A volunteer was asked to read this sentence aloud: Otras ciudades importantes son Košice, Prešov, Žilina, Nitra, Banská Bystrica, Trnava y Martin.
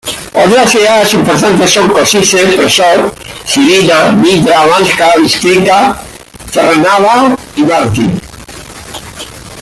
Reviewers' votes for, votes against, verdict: 2, 1, accepted